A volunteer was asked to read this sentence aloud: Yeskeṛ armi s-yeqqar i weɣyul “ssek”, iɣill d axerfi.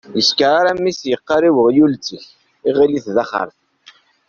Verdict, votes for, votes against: rejected, 0, 2